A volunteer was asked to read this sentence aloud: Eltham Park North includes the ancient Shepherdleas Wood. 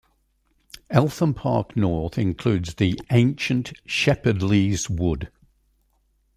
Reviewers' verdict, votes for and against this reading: rejected, 1, 2